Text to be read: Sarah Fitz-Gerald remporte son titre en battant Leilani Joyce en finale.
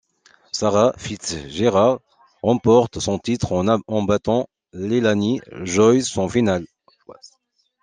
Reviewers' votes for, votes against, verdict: 0, 2, rejected